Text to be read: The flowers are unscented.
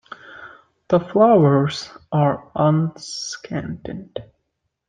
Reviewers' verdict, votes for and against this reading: rejected, 0, 2